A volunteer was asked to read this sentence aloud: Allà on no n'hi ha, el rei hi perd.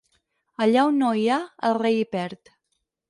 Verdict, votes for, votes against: rejected, 2, 4